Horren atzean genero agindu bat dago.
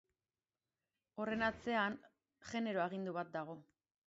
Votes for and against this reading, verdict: 2, 1, accepted